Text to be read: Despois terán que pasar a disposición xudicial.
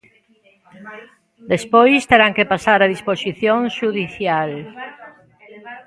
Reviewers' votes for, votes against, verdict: 0, 2, rejected